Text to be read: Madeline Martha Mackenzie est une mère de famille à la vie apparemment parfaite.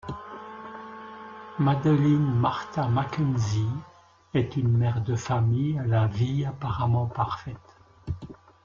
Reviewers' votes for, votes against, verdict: 1, 2, rejected